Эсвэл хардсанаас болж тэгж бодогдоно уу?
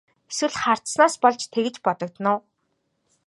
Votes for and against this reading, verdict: 3, 0, accepted